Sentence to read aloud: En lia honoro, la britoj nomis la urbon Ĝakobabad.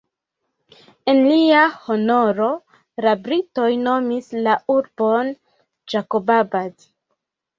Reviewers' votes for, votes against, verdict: 1, 2, rejected